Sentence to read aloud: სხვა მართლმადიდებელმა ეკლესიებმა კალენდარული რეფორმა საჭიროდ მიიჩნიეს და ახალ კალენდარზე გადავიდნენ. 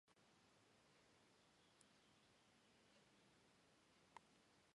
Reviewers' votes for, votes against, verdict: 1, 2, rejected